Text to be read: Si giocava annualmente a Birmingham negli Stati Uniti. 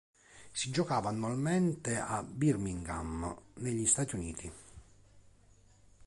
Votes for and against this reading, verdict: 3, 0, accepted